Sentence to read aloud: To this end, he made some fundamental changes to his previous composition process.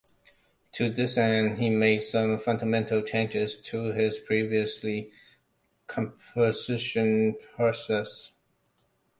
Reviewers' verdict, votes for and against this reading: rejected, 0, 2